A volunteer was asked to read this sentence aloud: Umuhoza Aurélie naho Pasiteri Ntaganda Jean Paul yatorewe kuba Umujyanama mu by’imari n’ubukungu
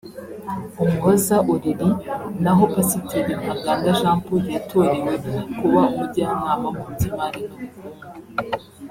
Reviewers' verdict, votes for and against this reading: rejected, 0, 2